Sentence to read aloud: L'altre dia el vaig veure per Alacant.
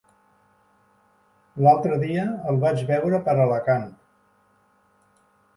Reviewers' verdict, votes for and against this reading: accepted, 4, 0